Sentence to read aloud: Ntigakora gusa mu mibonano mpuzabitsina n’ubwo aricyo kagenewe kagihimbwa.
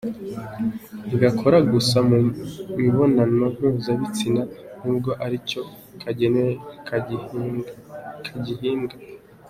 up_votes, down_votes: 1, 2